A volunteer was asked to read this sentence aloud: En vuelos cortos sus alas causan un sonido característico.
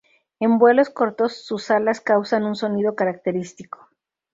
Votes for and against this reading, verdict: 2, 0, accepted